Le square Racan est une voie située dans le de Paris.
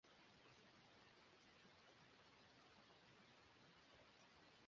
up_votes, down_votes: 0, 2